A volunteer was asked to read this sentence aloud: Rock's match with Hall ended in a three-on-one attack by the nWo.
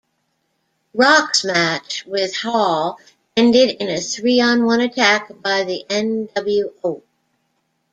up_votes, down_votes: 2, 1